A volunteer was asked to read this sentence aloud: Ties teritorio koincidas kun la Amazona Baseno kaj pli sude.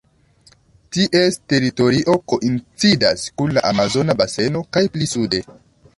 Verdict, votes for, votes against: rejected, 1, 2